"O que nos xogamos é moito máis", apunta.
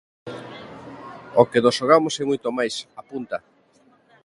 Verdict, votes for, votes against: accepted, 2, 0